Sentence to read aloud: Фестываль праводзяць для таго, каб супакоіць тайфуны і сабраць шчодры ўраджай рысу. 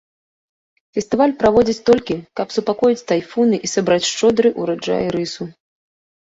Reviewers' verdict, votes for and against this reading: rejected, 1, 2